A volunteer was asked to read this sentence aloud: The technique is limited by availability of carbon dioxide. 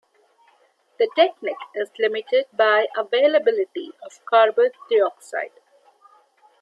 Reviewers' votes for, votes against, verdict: 2, 1, accepted